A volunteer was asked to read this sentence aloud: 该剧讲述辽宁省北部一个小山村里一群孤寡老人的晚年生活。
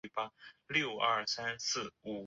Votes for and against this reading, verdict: 0, 2, rejected